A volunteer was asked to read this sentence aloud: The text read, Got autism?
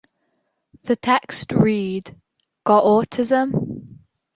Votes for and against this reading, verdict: 2, 1, accepted